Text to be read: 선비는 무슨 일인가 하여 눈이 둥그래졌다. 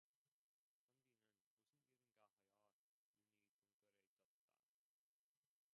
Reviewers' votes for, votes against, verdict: 0, 2, rejected